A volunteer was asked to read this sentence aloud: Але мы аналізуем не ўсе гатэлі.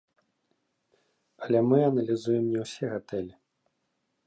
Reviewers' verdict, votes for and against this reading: accepted, 2, 1